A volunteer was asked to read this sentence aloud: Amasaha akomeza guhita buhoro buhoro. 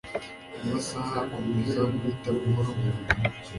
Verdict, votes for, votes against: accepted, 2, 0